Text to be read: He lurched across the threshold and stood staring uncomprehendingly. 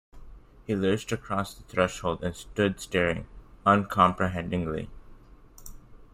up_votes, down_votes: 2, 0